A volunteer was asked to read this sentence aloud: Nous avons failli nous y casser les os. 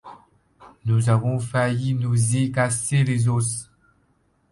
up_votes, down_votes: 0, 2